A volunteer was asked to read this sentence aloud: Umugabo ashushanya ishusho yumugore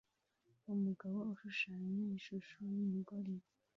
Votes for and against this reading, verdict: 0, 2, rejected